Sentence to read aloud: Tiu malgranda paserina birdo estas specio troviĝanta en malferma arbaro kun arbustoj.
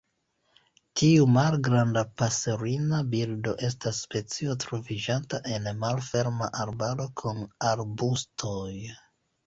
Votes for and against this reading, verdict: 2, 1, accepted